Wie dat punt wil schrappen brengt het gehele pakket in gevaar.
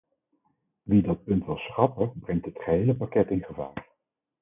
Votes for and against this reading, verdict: 4, 0, accepted